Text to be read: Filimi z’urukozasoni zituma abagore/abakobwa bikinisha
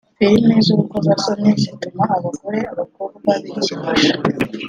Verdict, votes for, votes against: accepted, 3, 0